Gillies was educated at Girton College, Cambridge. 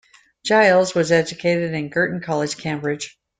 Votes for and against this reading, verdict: 1, 2, rejected